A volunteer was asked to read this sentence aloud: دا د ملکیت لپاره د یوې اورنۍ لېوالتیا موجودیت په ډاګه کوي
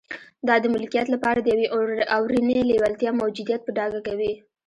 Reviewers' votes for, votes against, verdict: 1, 2, rejected